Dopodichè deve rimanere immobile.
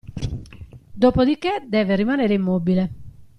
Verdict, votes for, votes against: accepted, 2, 0